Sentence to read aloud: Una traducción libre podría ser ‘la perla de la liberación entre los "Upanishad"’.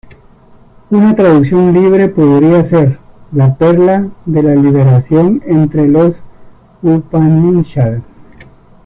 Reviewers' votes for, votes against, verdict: 1, 2, rejected